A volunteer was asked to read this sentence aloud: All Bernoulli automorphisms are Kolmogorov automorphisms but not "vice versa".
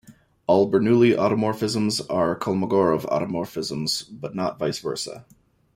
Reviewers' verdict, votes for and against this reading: accepted, 2, 0